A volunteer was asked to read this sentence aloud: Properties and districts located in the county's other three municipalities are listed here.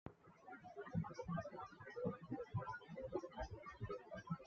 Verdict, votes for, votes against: rejected, 1, 2